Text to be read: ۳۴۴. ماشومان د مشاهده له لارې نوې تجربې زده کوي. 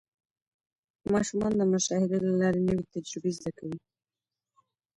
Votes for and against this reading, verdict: 0, 2, rejected